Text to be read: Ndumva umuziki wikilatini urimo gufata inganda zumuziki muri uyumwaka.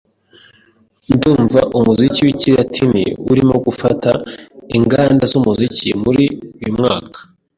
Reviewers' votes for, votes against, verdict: 2, 0, accepted